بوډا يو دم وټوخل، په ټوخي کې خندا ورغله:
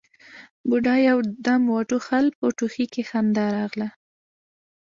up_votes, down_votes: 2, 0